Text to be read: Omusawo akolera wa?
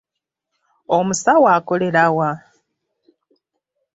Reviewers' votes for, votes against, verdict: 2, 0, accepted